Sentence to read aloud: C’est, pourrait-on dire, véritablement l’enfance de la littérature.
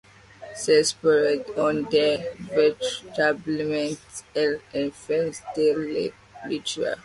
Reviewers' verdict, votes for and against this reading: rejected, 1, 2